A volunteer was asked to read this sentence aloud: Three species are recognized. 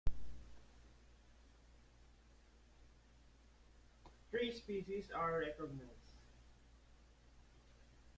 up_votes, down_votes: 1, 2